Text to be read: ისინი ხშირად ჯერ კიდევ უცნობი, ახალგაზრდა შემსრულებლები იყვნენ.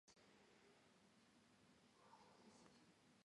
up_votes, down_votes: 1, 2